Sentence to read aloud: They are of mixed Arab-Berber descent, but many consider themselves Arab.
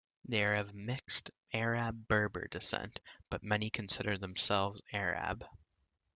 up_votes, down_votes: 2, 0